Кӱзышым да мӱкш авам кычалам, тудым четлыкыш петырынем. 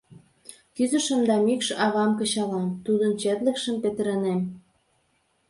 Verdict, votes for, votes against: rejected, 3, 4